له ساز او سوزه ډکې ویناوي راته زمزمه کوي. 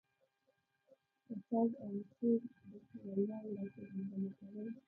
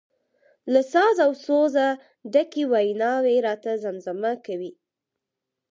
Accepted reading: second